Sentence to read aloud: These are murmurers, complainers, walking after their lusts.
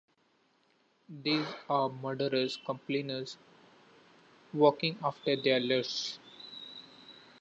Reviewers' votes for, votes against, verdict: 0, 2, rejected